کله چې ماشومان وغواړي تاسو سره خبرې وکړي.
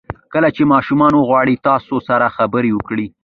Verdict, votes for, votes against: accepted, 2, 0